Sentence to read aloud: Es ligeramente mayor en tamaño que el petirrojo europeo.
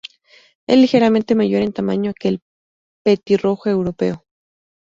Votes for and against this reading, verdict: 0, 2, rejected